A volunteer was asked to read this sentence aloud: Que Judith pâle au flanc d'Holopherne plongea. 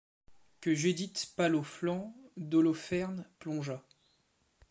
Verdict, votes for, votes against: accepted, 2, 1